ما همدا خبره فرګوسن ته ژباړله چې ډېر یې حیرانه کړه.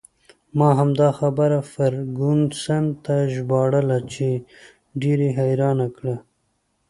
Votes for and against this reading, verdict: 0, 2, rejected